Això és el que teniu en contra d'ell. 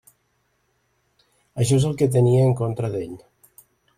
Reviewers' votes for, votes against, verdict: 1, 2, rejected